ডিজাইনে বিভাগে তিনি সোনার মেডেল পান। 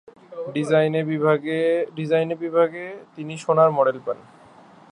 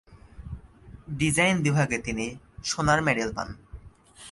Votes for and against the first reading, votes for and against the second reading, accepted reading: 0, 2, 5, 2, second